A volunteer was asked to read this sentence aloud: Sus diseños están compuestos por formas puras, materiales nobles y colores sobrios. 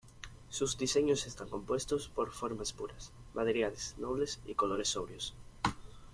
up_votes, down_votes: 2, 0